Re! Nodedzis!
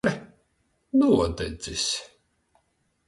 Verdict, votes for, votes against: rejected, 0, 2